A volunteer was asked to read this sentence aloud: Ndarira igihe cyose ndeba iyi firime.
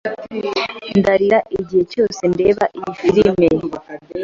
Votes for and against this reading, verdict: 2, 0, accepted